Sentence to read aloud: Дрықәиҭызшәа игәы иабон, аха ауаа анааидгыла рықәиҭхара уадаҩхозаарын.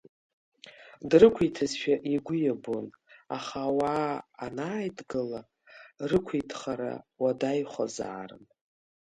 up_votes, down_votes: 2, 0